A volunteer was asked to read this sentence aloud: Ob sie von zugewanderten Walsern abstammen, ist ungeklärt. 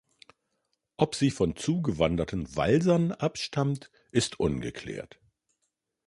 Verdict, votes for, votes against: rejected, 0, 2